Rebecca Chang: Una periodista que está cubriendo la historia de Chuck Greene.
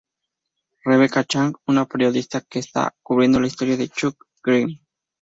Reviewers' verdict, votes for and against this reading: accepted, 2, 0